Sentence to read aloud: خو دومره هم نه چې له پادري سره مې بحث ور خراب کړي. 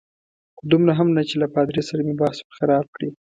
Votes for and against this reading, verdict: 2, 0, accepted